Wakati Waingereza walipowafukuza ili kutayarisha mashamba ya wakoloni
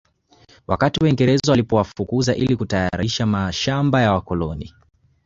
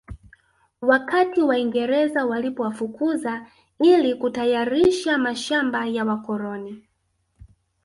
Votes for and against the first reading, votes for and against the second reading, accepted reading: 1, 2, 2, 0, second